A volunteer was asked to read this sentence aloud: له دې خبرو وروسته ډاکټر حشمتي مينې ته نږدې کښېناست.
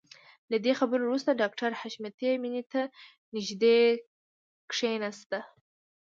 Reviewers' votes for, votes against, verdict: 2, 0, accepted